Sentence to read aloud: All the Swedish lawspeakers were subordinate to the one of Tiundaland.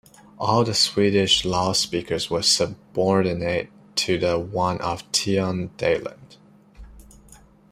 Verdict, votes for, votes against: accepted, 2, 0